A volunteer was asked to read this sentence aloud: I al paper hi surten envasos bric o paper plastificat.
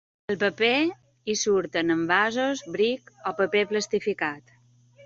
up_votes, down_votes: 0, 2